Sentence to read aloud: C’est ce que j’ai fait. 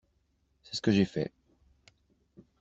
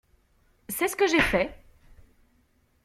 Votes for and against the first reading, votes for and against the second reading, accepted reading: 1, 2, 2, 0, second